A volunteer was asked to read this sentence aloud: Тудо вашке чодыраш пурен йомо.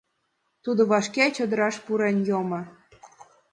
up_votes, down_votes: 2, 0